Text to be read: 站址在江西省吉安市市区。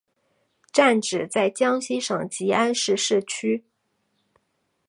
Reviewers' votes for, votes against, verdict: 2, 0, accepted